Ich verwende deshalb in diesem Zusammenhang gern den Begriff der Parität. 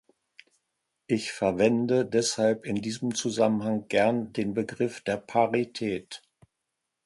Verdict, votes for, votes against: accepted, 2, 0